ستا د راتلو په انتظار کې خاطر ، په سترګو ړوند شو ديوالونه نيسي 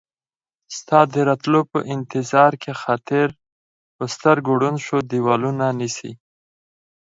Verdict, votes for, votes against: accepted, 4, 0